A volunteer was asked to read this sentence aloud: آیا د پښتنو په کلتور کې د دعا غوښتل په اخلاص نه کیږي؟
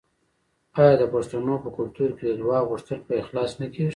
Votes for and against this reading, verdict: 1, 2, rejected